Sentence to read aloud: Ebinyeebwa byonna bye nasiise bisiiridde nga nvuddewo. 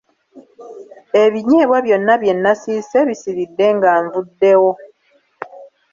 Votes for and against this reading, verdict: 2, 0, accepted